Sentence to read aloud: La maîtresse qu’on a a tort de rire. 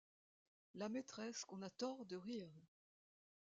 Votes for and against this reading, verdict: 0, 2, rejected